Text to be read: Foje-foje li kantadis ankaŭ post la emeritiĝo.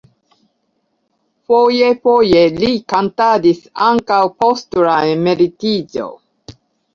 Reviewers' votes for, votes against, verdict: 2, 1, accepted